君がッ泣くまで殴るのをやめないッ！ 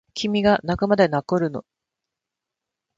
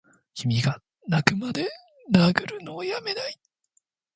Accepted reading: second